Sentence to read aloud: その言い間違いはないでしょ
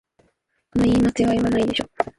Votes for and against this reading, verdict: 3, 2, accepted